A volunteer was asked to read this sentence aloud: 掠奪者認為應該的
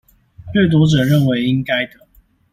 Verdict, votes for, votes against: accepted, 2, 0